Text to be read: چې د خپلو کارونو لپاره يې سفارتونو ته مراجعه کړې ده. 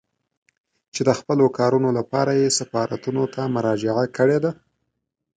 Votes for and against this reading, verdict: 2, 0, accepted